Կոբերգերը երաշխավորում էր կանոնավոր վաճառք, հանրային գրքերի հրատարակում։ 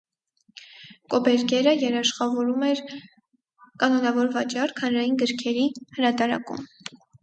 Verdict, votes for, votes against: accepted, 4, 0